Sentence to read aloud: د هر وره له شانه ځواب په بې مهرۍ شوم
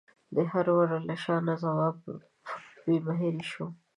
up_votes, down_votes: 0, 2